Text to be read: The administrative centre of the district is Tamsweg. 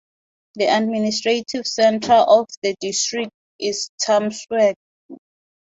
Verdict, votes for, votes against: rejected, 0, 2